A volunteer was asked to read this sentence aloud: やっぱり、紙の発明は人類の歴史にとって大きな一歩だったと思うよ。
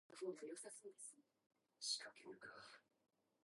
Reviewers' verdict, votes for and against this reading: rejected, 0, 2